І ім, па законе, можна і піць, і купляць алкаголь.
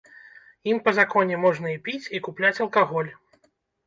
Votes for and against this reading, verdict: 1, 2, rejected